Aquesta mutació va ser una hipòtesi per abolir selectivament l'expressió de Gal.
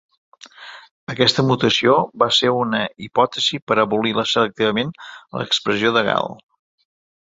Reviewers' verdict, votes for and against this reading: rejected, 1, 2